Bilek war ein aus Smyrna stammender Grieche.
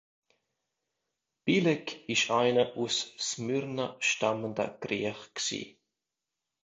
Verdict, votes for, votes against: rejected, 0, 2